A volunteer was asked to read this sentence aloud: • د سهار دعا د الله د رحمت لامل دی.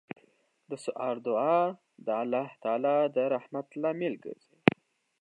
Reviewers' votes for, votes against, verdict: 2, 1, accepted